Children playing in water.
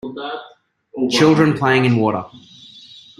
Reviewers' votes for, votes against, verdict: 0, 2, rejected